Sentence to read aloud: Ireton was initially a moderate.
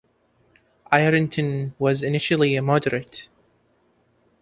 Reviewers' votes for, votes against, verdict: 3, 2, accepted